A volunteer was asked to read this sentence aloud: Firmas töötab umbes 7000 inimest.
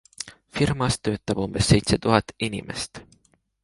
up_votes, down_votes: 0, 2